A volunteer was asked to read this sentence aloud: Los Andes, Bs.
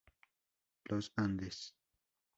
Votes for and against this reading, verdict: 0, 2, rejected